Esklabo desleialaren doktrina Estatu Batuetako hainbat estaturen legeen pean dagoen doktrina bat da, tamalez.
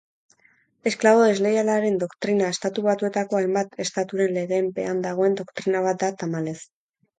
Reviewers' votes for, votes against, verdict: 4, 0, accepted